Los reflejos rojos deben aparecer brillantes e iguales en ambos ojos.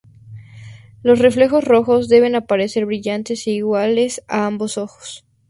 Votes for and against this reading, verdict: 0, 2, rejected